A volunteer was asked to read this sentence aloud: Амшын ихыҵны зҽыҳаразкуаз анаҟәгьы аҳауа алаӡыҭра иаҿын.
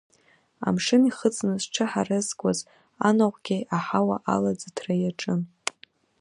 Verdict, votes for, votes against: accepted, 2, 1